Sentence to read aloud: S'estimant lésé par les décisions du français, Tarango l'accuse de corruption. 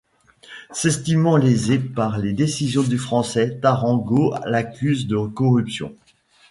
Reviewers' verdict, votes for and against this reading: accepted, 2, 1